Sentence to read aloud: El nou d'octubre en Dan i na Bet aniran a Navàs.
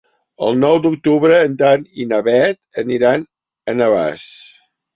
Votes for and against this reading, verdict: 2, 0, accepted